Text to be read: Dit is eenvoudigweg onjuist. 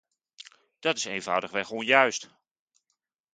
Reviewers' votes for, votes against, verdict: 0, 2, rejected